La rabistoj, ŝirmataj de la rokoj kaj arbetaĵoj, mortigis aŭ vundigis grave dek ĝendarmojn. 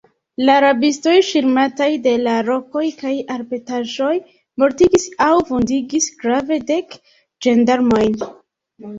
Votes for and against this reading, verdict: 2, 1, accepted